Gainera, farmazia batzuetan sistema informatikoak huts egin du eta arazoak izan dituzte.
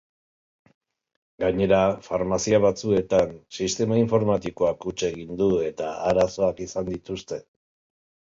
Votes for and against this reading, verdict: 2, 0, accepted